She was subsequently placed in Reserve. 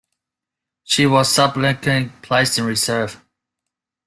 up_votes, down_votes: 0, 2